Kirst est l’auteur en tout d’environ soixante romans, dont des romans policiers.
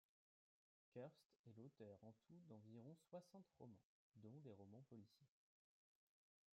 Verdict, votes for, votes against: rejected, 1, 2